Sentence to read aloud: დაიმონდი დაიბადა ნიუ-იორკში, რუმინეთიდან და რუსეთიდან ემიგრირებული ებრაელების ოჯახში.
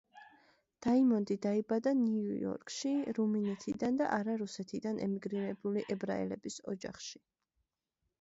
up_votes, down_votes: 0, 2